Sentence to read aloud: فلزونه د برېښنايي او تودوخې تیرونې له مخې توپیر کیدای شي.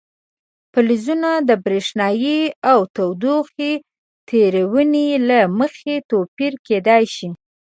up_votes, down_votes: 2, 0